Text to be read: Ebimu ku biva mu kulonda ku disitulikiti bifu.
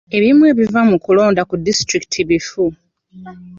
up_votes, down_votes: 2, 0